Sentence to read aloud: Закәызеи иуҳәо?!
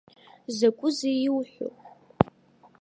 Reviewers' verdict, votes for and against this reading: accepted, 2, 0